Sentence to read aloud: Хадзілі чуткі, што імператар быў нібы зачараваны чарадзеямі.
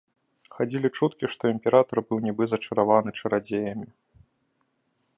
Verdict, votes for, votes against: accepted, 2, 0